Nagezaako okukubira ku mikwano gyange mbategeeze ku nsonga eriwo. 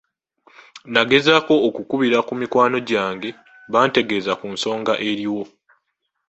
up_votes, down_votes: 0, 2